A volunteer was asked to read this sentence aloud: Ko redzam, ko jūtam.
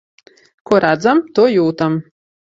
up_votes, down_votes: 1, 2